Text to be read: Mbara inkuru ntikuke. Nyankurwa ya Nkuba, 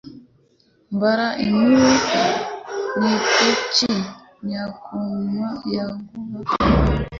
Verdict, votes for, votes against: rejected, 0, 2